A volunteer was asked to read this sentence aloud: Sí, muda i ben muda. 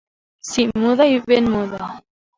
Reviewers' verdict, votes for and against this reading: accepted, 2, 0